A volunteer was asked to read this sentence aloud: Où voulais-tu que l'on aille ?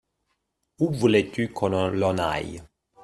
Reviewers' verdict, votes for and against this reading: rejected, 1, 2